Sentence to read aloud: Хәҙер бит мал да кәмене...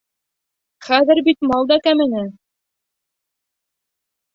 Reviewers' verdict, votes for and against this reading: accepted, 2, 0